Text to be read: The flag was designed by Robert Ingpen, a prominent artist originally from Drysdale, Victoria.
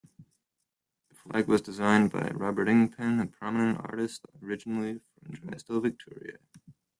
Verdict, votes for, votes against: accepted, 2, 1